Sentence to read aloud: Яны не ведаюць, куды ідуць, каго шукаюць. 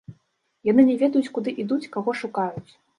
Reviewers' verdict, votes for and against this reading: accepted, 2, 0